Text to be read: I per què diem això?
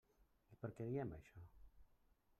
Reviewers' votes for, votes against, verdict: 0, 2, rejected